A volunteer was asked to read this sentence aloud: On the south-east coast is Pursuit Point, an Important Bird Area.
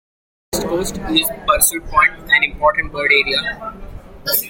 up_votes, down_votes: 0, 2